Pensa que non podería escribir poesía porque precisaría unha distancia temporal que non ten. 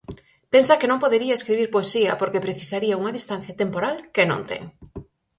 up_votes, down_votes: 4, 0